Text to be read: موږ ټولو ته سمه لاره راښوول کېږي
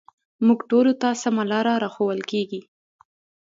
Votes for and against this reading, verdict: 2, 0, accepted